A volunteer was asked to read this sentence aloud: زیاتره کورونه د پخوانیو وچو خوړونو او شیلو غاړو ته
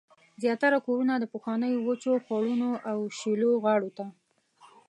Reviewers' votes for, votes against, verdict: 2, 0, accepted